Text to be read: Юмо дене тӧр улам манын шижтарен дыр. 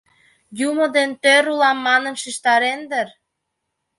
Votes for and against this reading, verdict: 2, 0, accepted